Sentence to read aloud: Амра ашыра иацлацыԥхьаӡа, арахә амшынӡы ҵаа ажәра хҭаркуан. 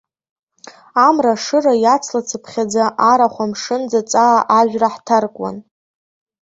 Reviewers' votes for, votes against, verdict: 1, 2, rejected